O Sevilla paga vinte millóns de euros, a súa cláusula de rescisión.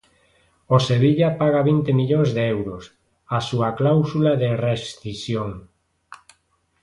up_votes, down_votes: 2, 0